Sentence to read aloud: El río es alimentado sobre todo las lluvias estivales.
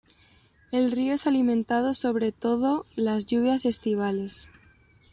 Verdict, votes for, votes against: accepted, 2, 0